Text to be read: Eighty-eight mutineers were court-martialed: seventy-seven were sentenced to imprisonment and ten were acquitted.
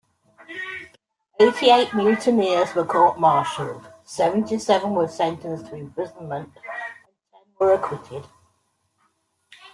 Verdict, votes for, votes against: rejected, 1, 2